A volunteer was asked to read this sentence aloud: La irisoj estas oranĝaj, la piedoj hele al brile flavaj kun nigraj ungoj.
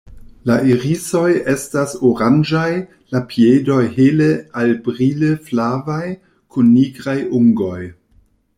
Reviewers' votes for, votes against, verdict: 2, 0, accepted